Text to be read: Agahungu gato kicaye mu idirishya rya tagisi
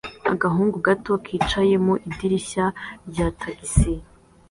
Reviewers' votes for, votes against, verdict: 2, 0, accepted